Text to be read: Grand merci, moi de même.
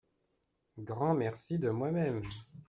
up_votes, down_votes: 0, 2